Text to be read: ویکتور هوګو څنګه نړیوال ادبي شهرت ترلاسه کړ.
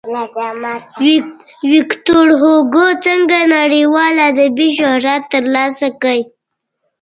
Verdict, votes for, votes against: rejected, 0, 2